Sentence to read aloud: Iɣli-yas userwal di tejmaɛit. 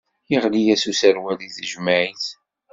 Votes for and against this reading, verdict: 2, 0, accepted